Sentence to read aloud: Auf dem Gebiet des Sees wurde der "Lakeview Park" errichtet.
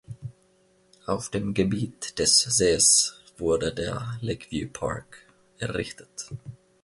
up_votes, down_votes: 1, 2